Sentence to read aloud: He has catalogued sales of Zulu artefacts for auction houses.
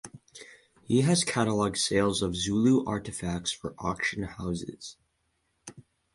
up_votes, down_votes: 4, 0